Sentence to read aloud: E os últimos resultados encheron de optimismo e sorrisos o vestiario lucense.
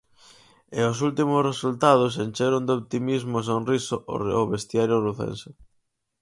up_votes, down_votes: 0, 4